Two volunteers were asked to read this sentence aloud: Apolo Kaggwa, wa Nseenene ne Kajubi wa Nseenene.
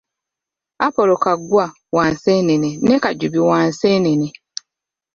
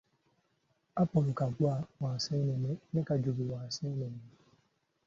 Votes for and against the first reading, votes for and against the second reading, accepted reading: 1, 2, 2, 0, second